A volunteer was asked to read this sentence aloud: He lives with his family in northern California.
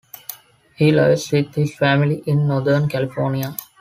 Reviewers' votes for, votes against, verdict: 4, 1, accepted